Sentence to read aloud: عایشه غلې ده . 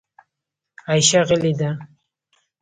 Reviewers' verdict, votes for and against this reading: accepted, 2, 0